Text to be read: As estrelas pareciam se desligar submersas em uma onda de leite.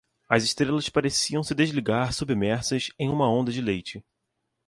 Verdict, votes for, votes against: accepted, 2, 0